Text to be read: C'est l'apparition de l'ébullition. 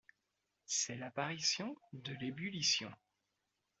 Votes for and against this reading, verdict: 3, 0, accepted